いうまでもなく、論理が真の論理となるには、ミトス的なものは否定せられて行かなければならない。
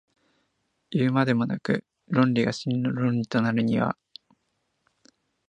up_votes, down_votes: 5, 4